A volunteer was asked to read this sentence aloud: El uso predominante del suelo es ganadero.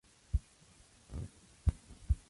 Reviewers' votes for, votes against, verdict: 2, 4, rejected